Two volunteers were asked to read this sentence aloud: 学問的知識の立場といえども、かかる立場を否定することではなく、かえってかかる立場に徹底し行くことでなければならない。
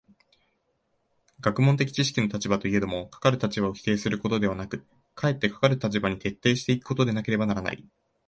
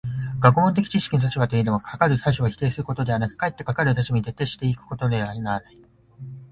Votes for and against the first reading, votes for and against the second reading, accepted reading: 2, 0, 3, 5, first